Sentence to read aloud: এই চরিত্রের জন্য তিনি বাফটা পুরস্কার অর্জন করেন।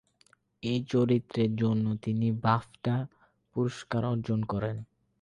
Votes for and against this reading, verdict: 4, 4, rejected